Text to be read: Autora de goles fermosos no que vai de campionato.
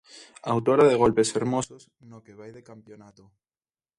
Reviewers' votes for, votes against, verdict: 0, 2, rejected